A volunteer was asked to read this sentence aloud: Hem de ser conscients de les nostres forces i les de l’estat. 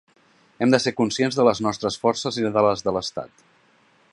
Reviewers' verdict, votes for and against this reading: rejected, 0, 2